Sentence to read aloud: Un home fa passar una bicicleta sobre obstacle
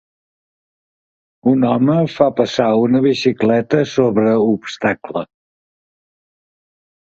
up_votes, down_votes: 2, 0